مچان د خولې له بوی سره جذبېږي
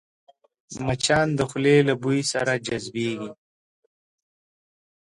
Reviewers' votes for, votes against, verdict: 7, 0, accepted